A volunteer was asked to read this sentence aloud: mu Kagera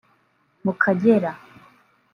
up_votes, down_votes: 1, 2